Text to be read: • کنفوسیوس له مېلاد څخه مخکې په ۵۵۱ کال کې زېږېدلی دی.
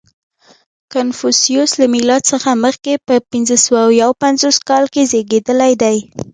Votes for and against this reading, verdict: 0, 2, rejected